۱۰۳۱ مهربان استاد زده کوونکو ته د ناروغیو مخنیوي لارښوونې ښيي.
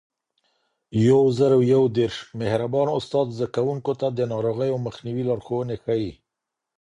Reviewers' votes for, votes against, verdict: 0, 2, rejected